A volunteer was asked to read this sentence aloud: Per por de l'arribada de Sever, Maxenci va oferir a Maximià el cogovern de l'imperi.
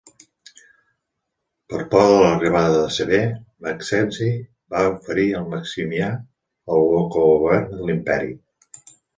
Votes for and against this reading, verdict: 1, 2, rejected